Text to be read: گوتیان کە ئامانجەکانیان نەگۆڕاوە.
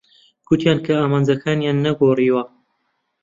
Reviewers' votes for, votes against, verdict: 0, 2, rejected